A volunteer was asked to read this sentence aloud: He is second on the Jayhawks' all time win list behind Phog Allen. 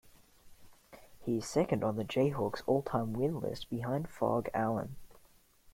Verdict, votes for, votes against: accepted, 2, 1